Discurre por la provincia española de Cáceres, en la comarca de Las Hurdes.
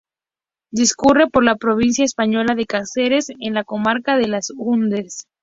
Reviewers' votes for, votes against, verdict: 0, 2, rejected